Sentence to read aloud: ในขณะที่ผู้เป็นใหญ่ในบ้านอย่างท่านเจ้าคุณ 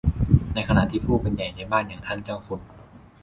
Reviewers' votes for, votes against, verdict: 2, 0, accepted